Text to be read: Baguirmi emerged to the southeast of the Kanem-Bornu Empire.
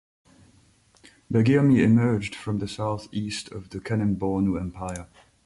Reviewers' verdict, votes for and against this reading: accepted, 2, 0